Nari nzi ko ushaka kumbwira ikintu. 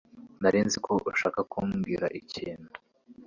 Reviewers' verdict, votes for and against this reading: accepted, 2, 0